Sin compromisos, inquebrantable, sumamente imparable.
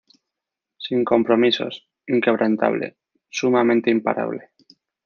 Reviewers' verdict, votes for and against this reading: rejected, 0, 2